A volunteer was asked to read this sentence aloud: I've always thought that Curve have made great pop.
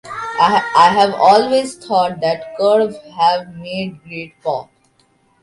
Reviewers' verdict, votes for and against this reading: rejected, 0, 2